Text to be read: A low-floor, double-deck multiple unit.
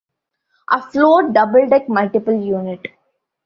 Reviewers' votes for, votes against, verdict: 0, 2, rejected